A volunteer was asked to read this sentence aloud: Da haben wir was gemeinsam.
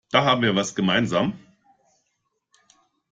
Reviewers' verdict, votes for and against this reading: accepted, 2, 0